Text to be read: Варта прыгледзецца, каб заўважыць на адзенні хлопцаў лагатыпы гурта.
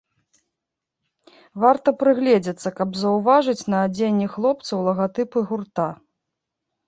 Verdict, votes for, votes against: accepted, 2, 0